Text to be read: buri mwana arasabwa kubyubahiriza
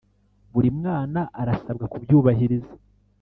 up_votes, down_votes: 4, 0